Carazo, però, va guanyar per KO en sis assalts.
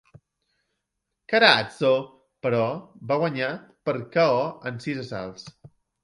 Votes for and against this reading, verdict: 2, 1, accepted